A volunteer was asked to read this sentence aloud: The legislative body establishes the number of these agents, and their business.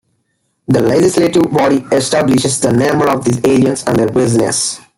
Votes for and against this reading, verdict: 0, 2, rejected